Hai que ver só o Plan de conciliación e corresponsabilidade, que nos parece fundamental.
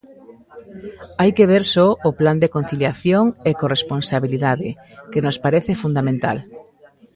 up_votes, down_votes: 1, 2